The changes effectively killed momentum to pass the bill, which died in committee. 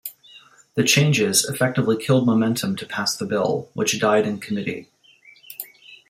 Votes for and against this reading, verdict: 2, 0, accepted